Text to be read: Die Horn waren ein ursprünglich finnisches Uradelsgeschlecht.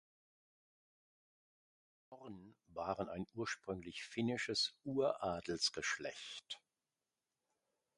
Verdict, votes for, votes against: rejected, 0, 2